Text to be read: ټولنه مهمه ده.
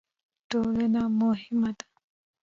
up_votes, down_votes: 2, 4